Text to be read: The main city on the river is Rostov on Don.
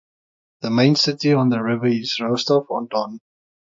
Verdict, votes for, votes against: accepted, 3, 0